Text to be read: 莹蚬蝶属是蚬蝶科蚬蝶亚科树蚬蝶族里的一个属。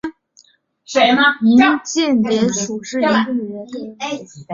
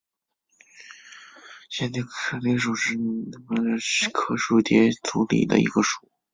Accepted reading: first